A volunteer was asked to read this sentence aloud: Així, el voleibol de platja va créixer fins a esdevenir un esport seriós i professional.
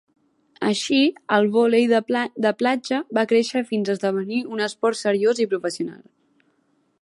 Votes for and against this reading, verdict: 1, 2, rejected